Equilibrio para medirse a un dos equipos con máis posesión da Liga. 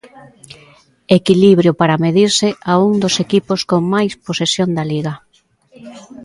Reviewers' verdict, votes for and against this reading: accepted, 2, 0